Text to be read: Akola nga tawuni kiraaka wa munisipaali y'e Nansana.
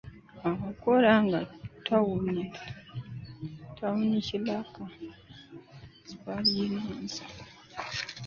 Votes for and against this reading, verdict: 0, 2, rejected